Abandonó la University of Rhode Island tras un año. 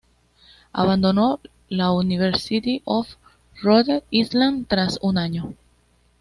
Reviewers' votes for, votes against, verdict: 2, 0, accepted